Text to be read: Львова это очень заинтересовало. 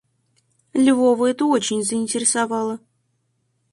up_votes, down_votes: 4, 0